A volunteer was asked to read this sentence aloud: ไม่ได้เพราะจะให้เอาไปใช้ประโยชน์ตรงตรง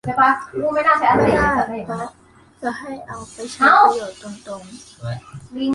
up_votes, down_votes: 0, 2